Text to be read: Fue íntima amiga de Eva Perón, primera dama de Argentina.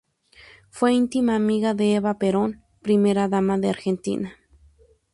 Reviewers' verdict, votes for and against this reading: accepted, 2, 0